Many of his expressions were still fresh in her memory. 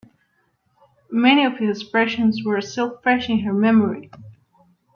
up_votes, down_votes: 2, 1